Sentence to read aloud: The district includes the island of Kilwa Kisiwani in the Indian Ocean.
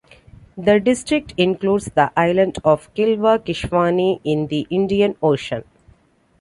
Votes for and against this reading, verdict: 2, 0, accepted